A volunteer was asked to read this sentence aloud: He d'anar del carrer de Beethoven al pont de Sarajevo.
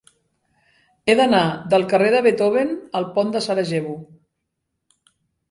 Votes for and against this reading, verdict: 3, 0, accepted